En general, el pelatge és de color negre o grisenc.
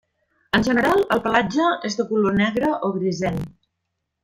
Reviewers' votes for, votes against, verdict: 2, 0, accepted